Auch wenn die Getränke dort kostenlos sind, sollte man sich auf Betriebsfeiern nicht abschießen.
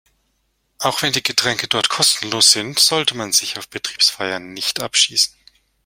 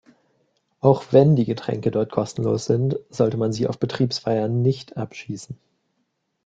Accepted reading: first